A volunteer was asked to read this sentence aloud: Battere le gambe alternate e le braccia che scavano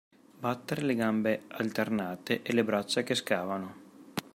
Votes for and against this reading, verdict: 2, 0, accepted